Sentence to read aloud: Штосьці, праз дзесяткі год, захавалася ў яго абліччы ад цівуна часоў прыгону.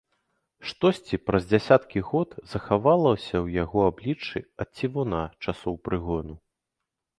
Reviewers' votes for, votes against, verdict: 3, 0, accepted